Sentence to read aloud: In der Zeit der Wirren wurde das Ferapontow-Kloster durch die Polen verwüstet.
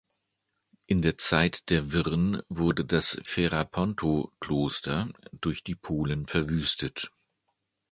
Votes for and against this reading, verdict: 2, 0, accepted